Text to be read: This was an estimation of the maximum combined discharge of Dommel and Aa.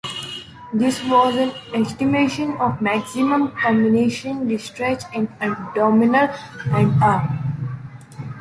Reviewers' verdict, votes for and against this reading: rejected, 0, 2